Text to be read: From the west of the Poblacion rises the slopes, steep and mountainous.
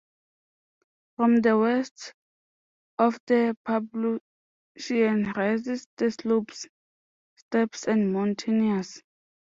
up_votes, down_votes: 0, 2